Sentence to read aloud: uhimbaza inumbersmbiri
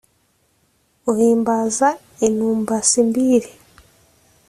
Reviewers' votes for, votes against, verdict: 0, 2, rejected